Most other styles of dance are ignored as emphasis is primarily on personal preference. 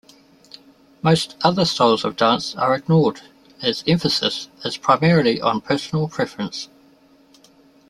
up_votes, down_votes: 2, 0